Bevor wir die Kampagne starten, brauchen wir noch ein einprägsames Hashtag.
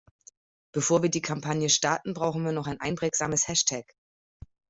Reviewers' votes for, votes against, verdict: 2, 0, accepted